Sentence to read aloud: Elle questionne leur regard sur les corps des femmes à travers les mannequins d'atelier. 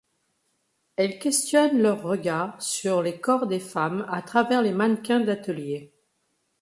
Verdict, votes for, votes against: accepted, 2, 0